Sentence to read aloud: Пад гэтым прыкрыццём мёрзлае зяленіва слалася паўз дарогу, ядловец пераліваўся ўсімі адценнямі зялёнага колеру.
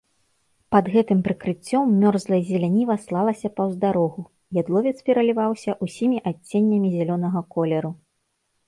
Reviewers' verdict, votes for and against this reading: rejected, 1, 2